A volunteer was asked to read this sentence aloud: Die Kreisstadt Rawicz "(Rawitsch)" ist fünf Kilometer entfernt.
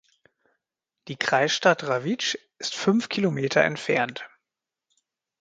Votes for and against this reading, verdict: 1, 2, rejected